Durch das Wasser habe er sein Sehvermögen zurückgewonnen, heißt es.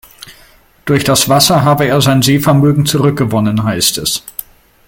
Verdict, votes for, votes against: accepted, 2, 0